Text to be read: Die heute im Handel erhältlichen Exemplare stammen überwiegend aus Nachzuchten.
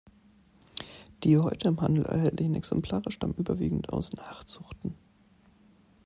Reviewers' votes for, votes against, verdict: 2, 1, accepted